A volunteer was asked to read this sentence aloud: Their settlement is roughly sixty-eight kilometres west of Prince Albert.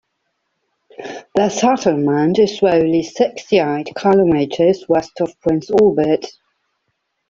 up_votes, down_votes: 0, 2